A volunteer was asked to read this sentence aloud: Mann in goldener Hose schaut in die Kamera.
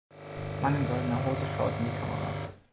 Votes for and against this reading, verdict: 2, 0, accepted